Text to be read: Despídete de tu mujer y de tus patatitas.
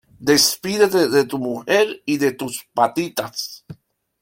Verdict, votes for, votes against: rejected, 1, 2